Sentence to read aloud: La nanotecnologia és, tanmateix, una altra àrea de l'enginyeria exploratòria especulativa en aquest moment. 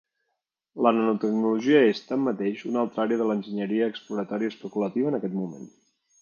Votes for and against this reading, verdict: 3, 0, accepted